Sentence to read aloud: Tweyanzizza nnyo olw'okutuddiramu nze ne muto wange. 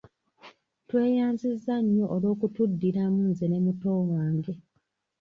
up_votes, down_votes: 1, 2